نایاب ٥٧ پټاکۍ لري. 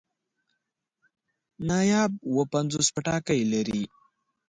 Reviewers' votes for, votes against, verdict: 0, 2, rejected